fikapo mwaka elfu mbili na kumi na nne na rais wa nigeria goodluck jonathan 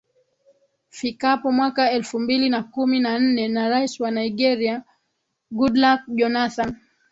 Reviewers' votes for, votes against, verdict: 7, 1, accepted